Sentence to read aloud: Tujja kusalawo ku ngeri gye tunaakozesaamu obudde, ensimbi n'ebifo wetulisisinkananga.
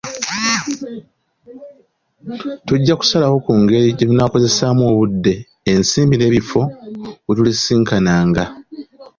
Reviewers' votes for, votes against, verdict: 2, 0, accepted